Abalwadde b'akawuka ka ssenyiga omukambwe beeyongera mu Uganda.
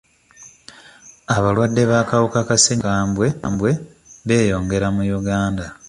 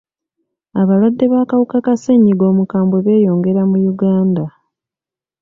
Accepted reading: second